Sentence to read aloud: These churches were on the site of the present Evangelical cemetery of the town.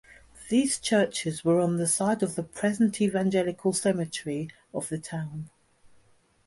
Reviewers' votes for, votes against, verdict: 2, 0, accepted